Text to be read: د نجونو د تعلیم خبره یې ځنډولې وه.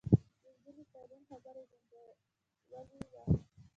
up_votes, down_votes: 1, 2